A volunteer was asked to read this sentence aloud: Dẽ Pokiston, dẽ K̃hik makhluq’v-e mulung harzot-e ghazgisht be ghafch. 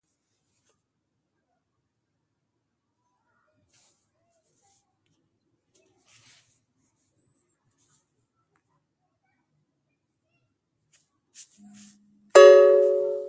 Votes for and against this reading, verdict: 0, 2, rejected